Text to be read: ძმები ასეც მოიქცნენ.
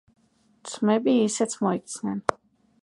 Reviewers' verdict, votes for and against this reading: rejected, 1, 2